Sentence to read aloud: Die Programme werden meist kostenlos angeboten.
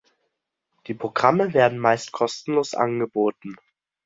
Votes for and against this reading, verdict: 2, 0, accepted